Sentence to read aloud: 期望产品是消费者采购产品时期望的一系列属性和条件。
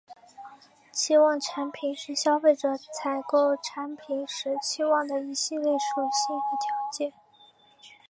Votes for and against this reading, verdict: 3, 0, accepted